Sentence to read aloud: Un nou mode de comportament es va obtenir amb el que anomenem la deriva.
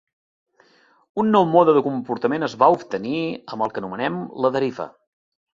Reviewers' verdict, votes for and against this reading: accepted, 3, 0